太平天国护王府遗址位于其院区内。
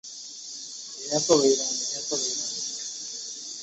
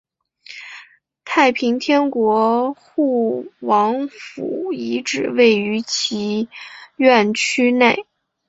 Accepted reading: second